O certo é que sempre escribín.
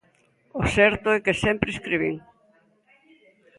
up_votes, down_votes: 2, 0